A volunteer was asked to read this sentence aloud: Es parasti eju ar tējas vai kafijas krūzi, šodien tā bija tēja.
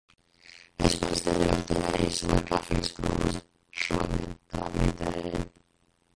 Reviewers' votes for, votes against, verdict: 0, 2, rejected